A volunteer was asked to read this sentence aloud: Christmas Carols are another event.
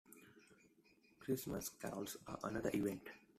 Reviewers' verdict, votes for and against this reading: rejected, 1, 2